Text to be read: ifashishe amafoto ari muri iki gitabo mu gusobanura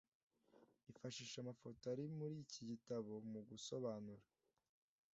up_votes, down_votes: 2, 0